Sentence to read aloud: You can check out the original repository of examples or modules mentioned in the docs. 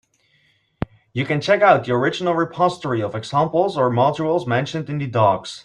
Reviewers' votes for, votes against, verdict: 3, 0, accepted